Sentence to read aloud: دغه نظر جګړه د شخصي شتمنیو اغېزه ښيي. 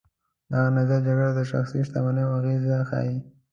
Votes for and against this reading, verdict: 1, 2, rejected